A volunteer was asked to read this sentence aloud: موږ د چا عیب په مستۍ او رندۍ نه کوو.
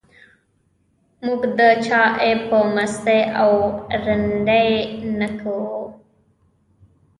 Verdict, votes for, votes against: rejected, 1, 2